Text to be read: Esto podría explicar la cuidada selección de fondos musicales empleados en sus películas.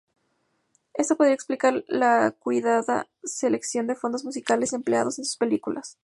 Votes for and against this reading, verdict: 0, 2, rejected